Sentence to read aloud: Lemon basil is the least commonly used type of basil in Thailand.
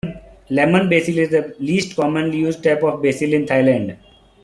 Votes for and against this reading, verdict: 3, 2, accepted